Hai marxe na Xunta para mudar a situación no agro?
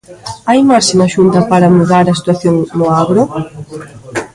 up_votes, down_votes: 3, 0